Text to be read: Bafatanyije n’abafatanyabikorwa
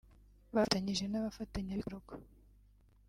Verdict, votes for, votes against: rejected, 1, 2